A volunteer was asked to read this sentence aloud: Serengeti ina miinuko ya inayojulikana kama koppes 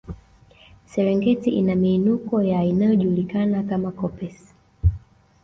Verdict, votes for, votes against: accepted, 2, 1